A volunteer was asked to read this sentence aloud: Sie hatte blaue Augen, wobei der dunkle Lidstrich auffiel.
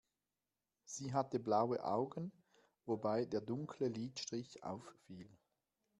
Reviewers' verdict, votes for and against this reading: accepted, 2, 0